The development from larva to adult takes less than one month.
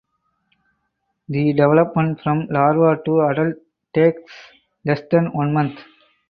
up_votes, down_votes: 4, 0